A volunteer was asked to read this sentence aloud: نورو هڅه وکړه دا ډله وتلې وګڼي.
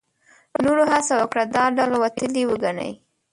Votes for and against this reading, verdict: 1, 2, rejected